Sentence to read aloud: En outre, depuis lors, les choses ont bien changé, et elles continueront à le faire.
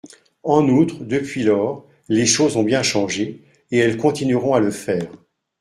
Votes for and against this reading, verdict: 2, 0, accepted